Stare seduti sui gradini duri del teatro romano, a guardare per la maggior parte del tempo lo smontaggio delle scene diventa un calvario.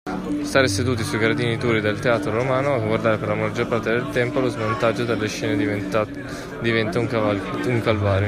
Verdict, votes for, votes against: rejected, 0, 2